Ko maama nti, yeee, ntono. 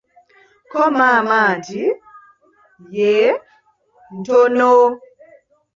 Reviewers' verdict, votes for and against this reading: rejected, 1, 2